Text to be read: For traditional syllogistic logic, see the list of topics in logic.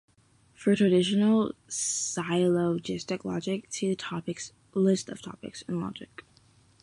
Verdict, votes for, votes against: rejected, 0, 2